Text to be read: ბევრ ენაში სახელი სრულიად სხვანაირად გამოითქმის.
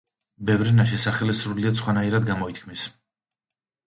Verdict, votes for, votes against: accepted, 2, 0